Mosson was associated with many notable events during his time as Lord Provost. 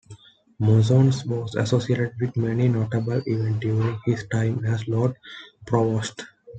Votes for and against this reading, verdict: 0, 2, rejected